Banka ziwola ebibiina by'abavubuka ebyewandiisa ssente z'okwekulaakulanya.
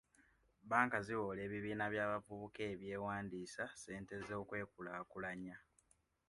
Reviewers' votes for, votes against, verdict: 2, 0, accepted